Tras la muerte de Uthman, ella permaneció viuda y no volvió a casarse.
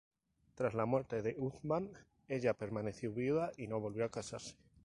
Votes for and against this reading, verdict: 4, 0, accepted